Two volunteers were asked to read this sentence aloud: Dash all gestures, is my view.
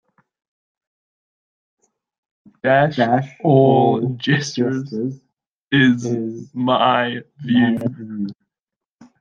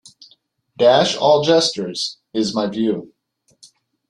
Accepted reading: second